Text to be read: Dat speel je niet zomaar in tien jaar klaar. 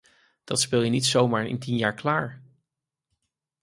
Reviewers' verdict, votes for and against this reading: accepted, 4, 0